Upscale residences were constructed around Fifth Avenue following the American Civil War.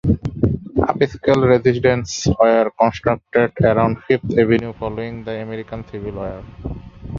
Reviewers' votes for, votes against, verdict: 1, 2, rejected